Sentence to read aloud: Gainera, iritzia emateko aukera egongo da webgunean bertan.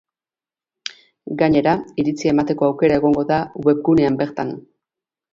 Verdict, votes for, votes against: accepted, 3, 0